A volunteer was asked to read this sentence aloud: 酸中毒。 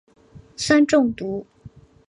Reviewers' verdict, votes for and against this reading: accepted, 2, 0